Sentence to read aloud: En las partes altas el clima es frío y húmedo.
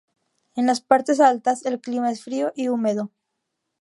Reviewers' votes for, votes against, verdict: 2, 0, accepted